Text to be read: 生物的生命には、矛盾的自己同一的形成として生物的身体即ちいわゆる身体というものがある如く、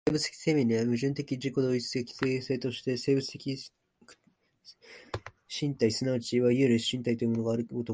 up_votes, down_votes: 0, 2